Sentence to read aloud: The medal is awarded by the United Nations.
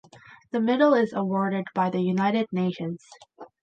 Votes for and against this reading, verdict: 2, 0, accepted